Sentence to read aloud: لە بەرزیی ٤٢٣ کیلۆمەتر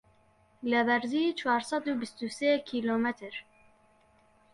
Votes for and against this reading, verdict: 0, 2, rejected